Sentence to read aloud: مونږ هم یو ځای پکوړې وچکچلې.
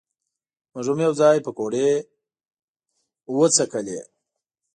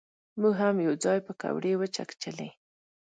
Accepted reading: second